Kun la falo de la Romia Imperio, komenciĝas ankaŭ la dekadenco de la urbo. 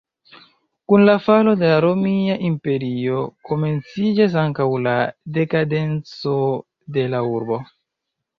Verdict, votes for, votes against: accepted, 2, 0